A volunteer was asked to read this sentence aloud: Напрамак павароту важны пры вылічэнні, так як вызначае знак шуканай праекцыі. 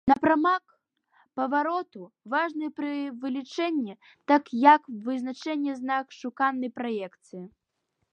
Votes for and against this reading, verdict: 0, 2, rejected